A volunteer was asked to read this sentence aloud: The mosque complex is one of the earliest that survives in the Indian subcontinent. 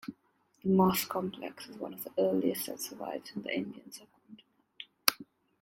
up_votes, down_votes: 1, 2